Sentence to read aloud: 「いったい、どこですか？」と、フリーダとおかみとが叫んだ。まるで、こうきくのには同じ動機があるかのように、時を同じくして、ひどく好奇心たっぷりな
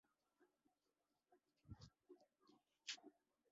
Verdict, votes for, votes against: rejected, 1, 5